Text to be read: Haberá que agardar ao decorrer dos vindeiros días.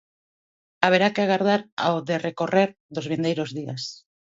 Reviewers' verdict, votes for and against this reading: rejected, 1, 2